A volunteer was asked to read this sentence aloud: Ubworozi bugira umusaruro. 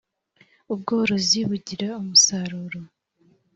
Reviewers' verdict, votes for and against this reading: accepted, 2, 0